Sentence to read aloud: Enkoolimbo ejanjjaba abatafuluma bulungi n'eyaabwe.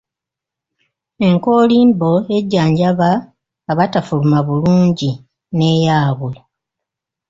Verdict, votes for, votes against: rejected, 1, 2